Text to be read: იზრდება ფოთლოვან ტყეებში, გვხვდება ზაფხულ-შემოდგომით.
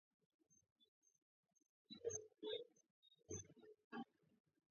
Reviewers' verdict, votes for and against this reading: rejected, 0, 2